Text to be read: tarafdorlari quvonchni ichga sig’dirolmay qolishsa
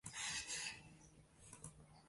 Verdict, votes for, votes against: rejected, 0, 2